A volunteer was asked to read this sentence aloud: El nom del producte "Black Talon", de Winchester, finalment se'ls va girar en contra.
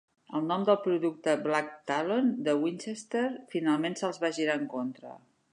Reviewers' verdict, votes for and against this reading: accepted, 4, 0